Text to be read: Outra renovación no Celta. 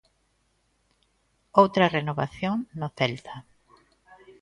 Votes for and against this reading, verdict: 2, 0, accepted